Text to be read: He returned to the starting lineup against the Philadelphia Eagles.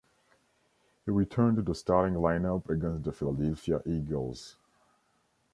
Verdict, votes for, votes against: rejected, 0, 2